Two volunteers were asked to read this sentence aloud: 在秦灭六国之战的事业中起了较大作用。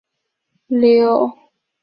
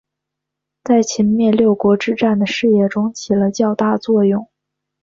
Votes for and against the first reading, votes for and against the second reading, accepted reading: 2, 3, 3, 1, second